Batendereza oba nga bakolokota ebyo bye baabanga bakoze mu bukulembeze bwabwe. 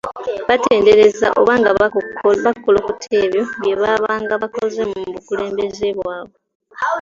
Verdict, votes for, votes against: accepted, 2, 0